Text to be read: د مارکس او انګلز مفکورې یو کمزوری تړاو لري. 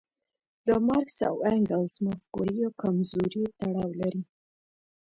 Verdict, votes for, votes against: rejected, 0, 2